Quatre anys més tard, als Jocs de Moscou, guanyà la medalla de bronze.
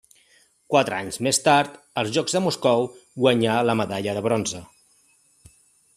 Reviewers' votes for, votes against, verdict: 2, 0, accepted